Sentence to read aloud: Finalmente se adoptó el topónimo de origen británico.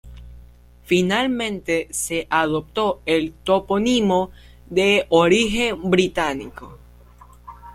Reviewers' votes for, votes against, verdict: 2, 0, accepted